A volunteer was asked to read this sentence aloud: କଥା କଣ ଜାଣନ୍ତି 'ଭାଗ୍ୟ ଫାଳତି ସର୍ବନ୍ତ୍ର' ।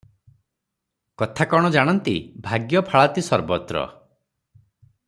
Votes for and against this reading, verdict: 0, 3, rejected